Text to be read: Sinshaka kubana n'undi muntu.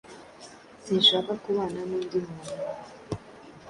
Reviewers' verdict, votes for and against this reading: accepted, 2, 0